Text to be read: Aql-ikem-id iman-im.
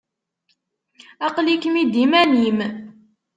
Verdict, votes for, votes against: accepted, 2, 0